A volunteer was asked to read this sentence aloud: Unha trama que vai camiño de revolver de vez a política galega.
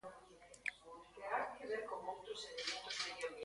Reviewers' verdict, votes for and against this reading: rejected, 0, 2